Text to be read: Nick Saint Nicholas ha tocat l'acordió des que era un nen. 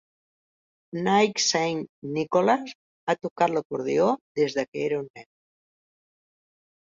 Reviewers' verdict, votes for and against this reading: rejected, 0, 2